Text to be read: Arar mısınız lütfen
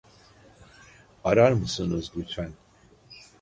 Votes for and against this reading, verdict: 2, 0, accepted